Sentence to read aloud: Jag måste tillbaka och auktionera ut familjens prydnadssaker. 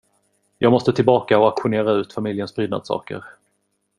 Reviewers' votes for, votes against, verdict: 2, 0, accepted